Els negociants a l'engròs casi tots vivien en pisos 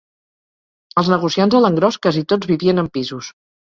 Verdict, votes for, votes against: accepted, 2, 0